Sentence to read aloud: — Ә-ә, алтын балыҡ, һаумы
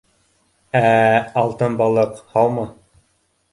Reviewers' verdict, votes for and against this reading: accepted, 2, 0